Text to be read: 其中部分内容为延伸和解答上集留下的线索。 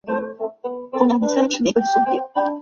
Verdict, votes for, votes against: rejected, 0, 3